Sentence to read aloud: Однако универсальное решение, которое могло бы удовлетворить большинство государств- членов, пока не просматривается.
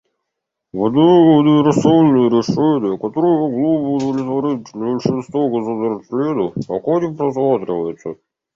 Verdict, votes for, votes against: rejected, 1, 3